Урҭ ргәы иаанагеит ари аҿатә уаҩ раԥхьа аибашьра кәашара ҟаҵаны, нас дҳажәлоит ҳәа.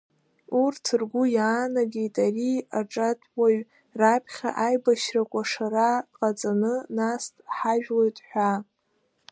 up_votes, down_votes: 2, 0